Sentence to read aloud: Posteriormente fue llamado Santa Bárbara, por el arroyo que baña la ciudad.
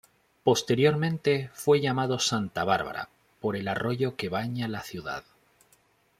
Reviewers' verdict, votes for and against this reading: accepted, 3, 0